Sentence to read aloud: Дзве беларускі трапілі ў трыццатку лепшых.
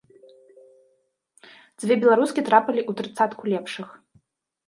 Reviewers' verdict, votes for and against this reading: accepted, 2, 1